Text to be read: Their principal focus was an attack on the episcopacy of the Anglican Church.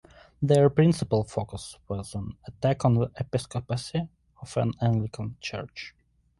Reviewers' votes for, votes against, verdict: 1, 2, rejected